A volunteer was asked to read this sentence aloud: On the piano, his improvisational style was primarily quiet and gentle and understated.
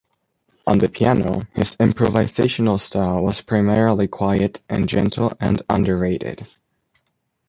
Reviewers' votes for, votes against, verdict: 0, 2, rejected